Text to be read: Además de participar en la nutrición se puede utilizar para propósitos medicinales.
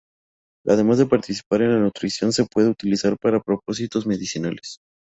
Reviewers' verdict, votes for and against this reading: accepted, 2, 0